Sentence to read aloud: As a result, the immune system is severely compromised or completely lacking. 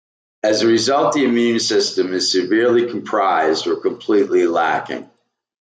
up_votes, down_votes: 0, 2